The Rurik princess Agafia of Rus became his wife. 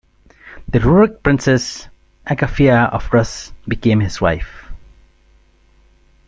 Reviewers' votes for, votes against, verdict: 2, 0, accepted